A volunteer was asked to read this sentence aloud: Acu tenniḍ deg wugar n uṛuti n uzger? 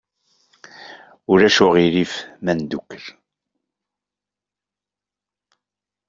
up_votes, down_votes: 0, 2